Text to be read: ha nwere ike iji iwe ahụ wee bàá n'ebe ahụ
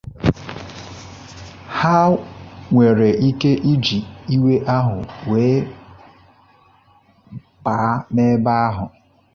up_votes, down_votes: 2, 1